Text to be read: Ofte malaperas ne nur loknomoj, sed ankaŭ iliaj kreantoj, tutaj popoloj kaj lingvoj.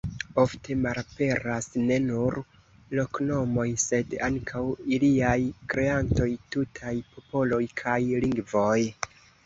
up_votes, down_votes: 0, 2